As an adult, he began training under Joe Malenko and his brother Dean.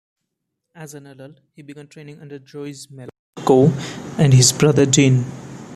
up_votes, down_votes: 1, 2